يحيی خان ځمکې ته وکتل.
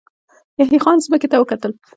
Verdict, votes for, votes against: rejected, 0, 2